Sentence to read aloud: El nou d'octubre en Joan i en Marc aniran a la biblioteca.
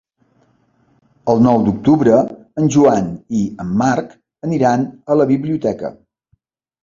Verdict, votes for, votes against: accepted, 3, 0